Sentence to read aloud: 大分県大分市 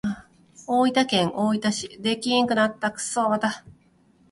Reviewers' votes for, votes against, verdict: 1, 2, rejected